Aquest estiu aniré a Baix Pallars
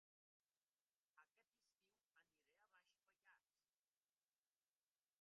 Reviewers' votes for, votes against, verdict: 1, 2, rejected